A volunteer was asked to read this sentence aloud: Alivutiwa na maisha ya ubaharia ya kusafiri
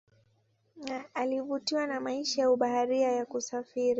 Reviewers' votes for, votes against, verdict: 2, 0, accepted